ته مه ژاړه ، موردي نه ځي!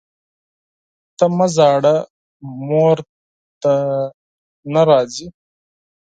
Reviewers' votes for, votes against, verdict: 0, 4, rejected